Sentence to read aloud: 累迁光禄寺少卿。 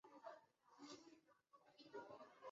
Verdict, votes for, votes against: rejected, 0, 2